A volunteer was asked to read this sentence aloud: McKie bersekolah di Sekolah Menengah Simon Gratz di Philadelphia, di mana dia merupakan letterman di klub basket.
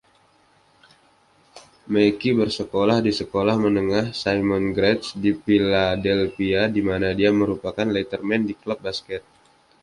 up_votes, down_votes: 2, 0